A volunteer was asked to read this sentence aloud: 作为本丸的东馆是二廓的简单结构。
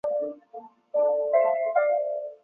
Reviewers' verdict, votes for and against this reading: rejected, 0, 2